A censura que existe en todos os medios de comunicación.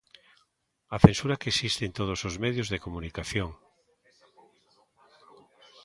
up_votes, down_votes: 1, 2